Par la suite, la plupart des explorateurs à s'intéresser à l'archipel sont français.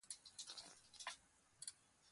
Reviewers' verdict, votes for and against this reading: rejected, 1, 2